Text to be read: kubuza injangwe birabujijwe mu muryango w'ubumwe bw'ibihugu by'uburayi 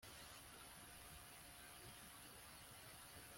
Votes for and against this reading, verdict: 1, 2, rejected